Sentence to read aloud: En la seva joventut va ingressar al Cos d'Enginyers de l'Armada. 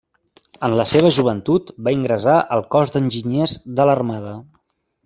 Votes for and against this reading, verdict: 1, 2, rejected